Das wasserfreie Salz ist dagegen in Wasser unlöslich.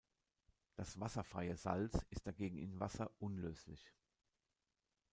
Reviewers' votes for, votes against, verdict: 2, 0, accepted